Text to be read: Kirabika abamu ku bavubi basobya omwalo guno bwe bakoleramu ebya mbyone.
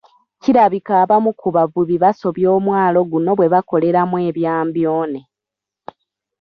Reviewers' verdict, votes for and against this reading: rejected, 0, 2